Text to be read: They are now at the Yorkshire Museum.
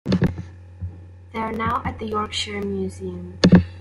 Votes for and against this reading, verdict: 2, 0, accepted